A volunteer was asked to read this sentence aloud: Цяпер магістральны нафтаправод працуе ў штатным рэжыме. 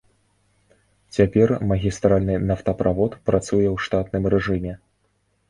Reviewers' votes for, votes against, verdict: 2, 0, accepted